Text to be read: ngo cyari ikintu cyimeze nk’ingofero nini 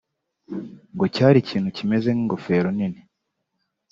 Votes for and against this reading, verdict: 3, 0, accepted